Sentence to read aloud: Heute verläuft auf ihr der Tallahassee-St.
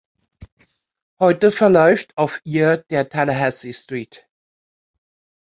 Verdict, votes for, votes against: rejected, 0, 2